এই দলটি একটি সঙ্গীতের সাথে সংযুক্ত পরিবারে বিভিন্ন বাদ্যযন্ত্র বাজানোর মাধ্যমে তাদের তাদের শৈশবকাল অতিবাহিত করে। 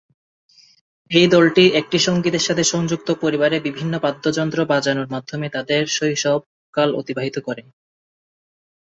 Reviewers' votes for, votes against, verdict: 2, 2, rejected